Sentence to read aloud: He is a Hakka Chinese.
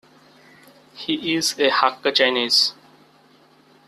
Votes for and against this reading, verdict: 2, 0, accepted